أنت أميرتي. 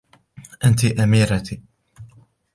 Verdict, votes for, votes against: accepted, 2, 0